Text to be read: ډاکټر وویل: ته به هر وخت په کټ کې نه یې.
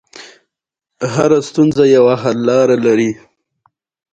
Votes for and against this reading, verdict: 1, 2, rejected